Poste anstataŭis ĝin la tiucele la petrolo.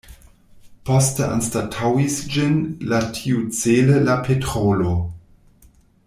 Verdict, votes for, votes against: rejected, 1, 2